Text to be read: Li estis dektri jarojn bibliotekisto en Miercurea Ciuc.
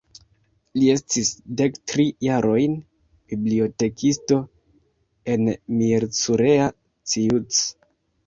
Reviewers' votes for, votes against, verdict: 2, 0, accepted